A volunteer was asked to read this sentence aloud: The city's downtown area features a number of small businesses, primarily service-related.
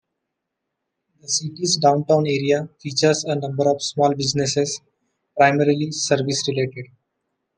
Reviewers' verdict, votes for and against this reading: rejected, 1, 3